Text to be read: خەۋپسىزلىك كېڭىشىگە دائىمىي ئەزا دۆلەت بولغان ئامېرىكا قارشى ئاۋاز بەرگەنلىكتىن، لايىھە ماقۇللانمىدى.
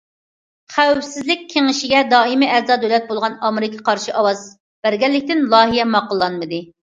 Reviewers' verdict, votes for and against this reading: accepted, 2, 0